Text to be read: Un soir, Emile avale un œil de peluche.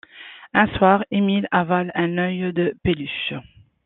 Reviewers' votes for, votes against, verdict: 0, 2, rejected